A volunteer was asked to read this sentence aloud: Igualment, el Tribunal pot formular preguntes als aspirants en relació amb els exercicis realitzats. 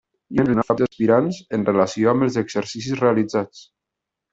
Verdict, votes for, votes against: rejected, 0, 2